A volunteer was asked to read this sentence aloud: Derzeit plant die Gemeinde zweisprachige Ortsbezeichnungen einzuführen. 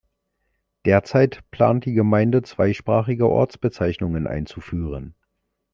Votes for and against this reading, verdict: 2, 0, accepted